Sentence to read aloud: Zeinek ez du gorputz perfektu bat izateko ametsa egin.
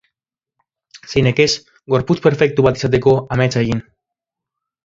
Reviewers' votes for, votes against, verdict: 0, 2, rejected